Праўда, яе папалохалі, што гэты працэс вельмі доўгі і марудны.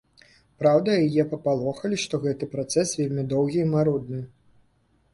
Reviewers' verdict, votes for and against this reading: accepted, 2, 0